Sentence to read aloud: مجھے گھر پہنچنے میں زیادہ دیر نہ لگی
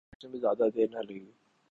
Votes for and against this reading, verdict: 0, 2, rejected